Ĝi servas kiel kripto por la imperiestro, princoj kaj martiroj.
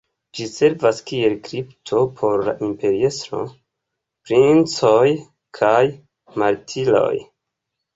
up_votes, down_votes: 1, 2